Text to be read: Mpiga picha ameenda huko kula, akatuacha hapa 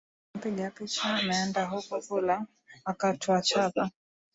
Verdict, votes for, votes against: rejected, 1, 2